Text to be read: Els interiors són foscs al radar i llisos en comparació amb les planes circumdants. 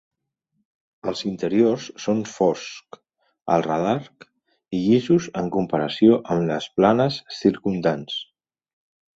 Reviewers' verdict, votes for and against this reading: accepted, 2, 0